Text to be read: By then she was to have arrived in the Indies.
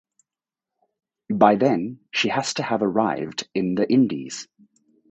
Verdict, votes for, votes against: rejected, 0, 4